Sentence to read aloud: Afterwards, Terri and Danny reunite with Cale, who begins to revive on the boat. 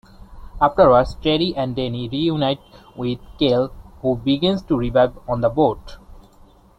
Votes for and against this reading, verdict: 2, 0, accepted